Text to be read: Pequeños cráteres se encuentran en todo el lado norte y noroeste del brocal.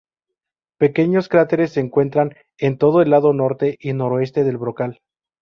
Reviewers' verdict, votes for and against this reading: rejected, 0, 2